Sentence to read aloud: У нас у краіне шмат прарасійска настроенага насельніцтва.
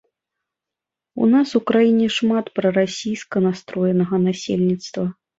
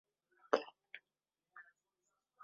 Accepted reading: first